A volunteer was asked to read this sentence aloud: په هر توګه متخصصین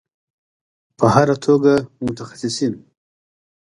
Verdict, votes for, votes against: rejected, 1, 2